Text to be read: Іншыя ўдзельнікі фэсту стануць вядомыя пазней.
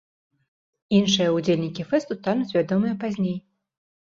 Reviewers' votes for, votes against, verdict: 2, 0, accepted